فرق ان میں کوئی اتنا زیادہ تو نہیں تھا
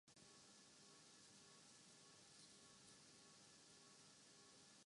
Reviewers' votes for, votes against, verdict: 0, 2, rejected